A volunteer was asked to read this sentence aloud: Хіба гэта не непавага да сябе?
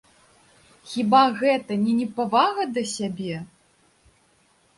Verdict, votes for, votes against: accepted, 2, 0